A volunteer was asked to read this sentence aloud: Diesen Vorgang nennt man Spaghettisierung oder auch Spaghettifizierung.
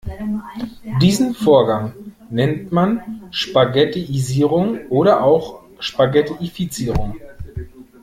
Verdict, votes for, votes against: rejected, 1, 2